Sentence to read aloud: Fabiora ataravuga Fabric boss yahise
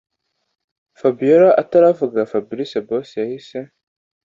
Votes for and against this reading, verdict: 2, 0, accepted